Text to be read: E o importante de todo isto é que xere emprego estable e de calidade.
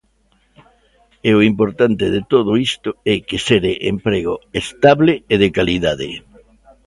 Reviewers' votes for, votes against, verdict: 2, 0, accepted